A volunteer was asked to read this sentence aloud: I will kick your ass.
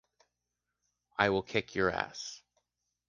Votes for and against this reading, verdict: 2, 0, accepted